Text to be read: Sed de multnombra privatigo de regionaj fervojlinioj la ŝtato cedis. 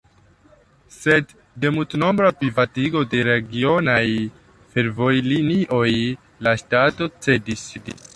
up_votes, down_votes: 2, 0